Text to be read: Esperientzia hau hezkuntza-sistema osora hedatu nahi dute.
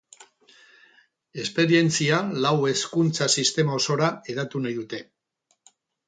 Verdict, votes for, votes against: rejected, 2, 6